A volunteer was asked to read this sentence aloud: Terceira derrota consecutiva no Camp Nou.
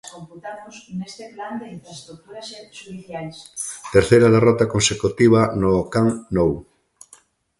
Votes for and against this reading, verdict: 1, 2, rejected